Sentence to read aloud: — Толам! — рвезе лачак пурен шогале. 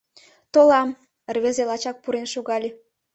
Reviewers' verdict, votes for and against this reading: accepted, 2, 0